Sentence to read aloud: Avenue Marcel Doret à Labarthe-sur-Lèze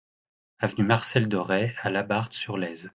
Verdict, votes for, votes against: accepted, 2, 1